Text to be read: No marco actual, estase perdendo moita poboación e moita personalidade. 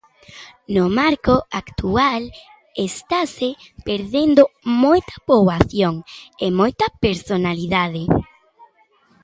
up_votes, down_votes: 2, 0